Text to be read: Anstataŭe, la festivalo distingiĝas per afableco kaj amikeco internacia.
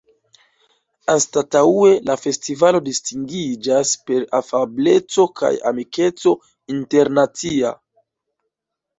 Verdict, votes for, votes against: accepted, 2, 1